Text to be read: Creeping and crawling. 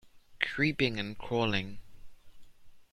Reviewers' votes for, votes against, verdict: 2, 0, accepted